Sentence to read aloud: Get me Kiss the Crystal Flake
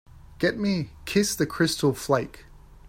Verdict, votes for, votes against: accepted, 3, 0